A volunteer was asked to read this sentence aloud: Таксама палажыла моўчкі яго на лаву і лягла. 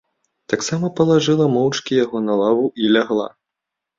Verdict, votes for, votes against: accepted, 2, 0